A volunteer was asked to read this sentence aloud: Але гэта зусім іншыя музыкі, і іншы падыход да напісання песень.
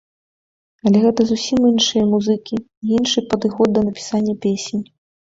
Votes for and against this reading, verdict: 2, 0, accepted